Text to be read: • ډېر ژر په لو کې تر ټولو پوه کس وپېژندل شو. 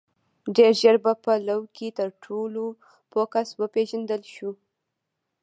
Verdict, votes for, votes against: accepted, 2, 0